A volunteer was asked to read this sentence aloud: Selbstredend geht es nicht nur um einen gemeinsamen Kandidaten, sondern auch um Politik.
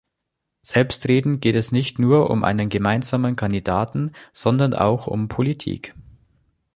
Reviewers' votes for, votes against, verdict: 2, 0, accepted